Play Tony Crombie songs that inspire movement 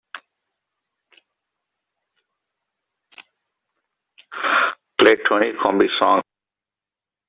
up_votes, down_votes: 0, 2